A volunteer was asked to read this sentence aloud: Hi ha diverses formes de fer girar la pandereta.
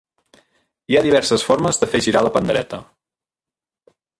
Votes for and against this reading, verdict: 1, 2, rejected